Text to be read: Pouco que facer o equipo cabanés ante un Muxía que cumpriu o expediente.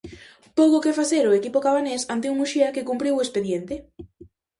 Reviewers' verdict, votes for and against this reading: rejected, 0, 2